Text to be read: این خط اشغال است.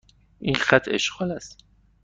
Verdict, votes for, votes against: accepted, 2, 0